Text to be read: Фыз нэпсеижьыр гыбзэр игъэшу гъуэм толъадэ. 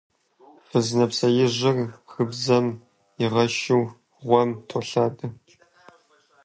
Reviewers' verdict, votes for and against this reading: rejected, 1, 2